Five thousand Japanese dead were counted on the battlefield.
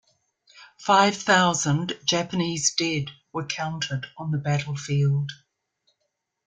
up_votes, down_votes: 2, 0